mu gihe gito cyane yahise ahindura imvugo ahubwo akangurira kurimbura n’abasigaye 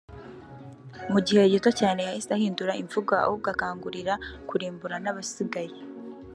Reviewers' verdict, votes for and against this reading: accepted, 2, 0